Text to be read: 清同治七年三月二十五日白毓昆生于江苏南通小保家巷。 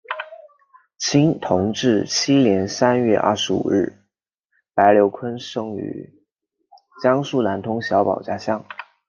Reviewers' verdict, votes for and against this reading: accepted, 2, 1